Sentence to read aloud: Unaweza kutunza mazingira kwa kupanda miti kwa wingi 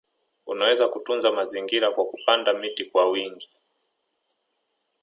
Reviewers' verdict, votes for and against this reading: rejected, 0, 2